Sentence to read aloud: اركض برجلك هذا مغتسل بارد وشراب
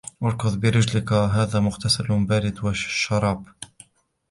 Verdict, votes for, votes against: accepted, 2, 1